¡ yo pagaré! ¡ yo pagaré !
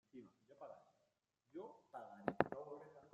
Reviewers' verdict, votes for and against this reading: rejected, 0, 2